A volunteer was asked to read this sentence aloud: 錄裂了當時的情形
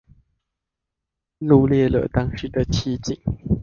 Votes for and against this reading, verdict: 1, 2, rejected